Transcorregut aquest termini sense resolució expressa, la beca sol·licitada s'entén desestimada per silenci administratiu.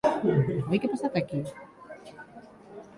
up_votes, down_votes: 1, 2